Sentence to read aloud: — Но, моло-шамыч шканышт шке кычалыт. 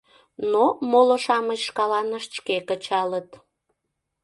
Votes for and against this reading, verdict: 0, 2, rejected